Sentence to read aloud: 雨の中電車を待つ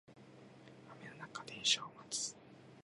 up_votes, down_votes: 5, 2